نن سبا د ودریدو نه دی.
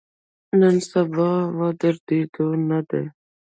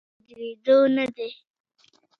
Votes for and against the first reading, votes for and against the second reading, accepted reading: 1, 2, 2, 0, second